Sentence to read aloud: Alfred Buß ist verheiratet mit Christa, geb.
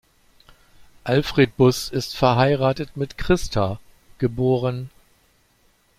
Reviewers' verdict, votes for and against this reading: rejected, 1, 2